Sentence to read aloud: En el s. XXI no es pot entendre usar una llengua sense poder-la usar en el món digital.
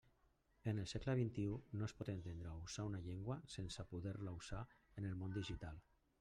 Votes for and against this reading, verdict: 2, 0, accepted